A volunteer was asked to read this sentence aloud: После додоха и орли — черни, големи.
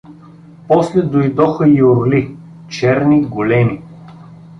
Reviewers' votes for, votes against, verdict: 0, 2, rejected